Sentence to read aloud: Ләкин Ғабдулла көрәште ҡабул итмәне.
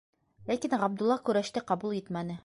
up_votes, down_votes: 0, 2